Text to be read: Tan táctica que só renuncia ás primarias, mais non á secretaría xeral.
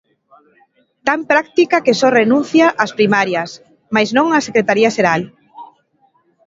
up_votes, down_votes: 1, 2